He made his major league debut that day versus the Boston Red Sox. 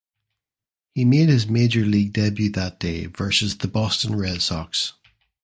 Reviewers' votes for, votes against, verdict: 0, 2, rejected